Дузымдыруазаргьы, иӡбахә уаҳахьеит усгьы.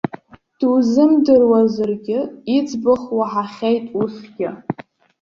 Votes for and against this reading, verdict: 0, 2, rejected